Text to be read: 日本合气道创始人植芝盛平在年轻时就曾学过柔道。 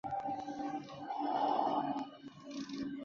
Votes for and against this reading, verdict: 0, 2, rejected